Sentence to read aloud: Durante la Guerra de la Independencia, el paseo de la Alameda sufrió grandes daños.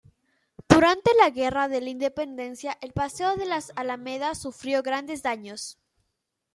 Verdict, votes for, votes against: rejected, 1, 2